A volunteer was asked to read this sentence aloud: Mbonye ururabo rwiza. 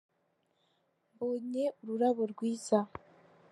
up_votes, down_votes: 3, 0